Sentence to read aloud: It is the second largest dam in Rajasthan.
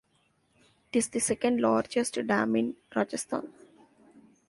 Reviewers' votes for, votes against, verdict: 1, 2, rejected